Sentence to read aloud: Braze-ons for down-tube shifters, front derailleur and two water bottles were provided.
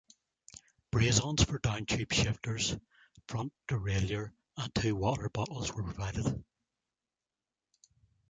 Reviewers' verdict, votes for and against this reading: rejected, 1, 2